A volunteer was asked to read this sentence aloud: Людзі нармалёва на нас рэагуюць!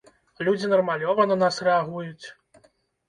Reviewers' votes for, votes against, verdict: 2, 1, accepted